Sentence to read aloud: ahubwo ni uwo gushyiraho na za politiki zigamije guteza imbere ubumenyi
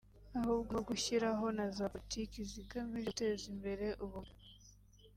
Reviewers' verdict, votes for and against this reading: rejected, 1, 2